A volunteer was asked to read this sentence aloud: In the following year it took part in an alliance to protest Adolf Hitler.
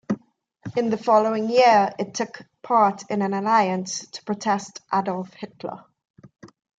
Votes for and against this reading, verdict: 2, 0, accepted